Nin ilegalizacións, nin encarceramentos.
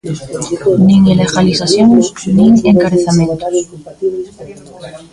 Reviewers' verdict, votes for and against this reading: rejected, 0, 2